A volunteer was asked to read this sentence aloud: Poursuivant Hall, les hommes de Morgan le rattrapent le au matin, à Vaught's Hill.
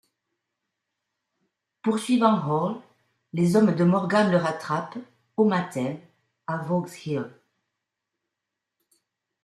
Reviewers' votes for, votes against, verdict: 1, 2, rejected